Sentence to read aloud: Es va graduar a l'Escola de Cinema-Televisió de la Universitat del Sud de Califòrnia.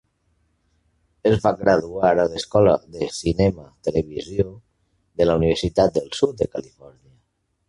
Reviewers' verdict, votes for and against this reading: accepted, 2, 0